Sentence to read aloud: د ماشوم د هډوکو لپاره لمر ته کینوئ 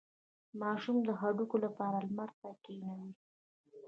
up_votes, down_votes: 2, 0